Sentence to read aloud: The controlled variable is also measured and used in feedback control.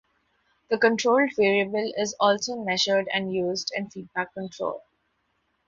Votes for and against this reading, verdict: 2, 0, accepted